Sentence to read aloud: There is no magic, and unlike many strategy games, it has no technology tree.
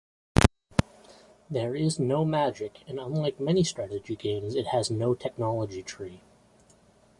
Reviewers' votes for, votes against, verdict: 2, 0, accepted